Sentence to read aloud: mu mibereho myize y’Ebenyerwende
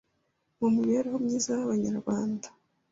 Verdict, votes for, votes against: rejected, 1, 2